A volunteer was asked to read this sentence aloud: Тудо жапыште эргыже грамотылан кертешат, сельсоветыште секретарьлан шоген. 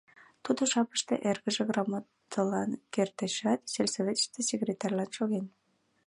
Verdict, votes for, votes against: accepted, 2, 0